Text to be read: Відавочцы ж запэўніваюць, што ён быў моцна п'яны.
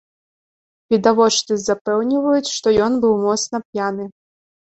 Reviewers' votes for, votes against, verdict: 1, 2, rejected